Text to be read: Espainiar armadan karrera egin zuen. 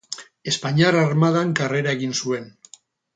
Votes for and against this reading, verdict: 0, 2, rejected